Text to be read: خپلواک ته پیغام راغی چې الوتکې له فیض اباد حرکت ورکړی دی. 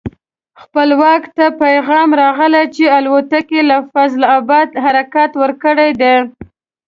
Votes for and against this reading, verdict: 1, 2, rejected